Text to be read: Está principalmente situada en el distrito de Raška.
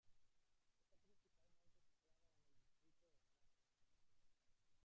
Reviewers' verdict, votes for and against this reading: rejected, 0, 2